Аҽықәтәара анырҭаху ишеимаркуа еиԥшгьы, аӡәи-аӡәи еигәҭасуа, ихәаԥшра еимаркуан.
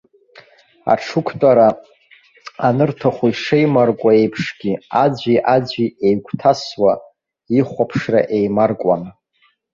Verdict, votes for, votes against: accepted, 2, 0